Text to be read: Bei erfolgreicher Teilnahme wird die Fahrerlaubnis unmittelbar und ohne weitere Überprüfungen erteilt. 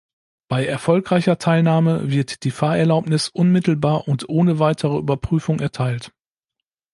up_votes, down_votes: 0, 2